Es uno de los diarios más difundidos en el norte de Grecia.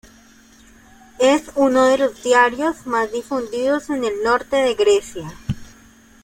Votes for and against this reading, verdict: 1, 2, rejected